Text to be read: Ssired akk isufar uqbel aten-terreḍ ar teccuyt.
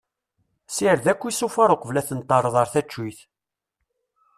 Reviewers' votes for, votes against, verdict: 1, 2, rejected